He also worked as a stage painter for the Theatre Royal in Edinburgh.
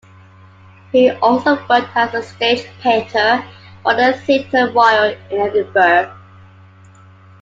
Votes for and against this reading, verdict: 1, 2, rejected